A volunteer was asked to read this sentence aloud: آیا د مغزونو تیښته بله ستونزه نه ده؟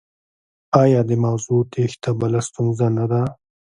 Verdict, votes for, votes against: rejected, 0, 2